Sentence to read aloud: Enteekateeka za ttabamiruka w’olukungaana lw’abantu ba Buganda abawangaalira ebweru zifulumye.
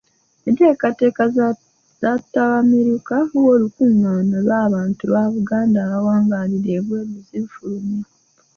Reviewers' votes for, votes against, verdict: 0, 2, rejected